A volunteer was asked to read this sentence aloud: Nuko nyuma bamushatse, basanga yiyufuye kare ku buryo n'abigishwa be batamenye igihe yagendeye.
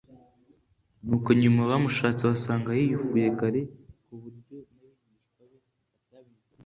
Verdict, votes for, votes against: accepted, 2, 0